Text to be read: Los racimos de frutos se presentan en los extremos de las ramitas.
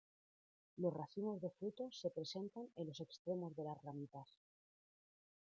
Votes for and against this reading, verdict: 2, 0, accepted